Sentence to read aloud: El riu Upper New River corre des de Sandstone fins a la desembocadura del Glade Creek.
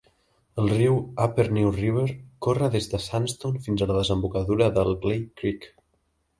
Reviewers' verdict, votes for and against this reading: accepted, 2, 0